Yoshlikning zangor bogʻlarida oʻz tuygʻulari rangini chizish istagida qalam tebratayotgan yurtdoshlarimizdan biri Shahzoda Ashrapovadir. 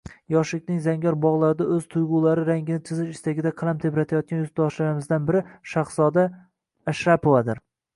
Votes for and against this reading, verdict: 0, 2, rejected